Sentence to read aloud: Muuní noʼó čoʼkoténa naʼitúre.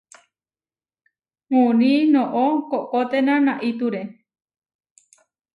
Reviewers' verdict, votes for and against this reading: rejected, 0, 2